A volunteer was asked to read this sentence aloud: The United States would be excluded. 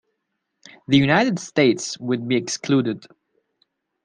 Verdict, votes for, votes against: accepted, 2, 0